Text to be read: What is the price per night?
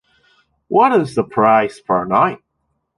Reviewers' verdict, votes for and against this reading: accepted, 2, 0